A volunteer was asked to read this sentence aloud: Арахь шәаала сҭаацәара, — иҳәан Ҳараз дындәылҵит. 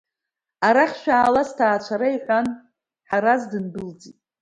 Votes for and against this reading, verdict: 2, 0, accepted